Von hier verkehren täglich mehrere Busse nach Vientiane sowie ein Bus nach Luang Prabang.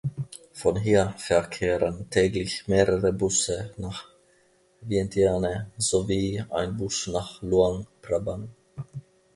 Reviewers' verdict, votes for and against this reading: accepted, 2, 0